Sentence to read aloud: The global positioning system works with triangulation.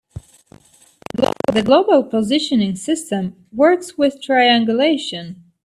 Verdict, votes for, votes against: rejected, 0, 2